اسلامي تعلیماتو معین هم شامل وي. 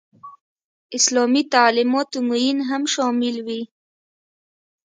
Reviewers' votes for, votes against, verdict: 2, 0, accepted